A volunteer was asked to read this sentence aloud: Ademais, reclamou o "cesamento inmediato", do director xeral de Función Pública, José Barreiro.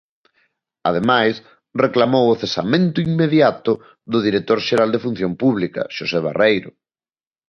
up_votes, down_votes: 0, 2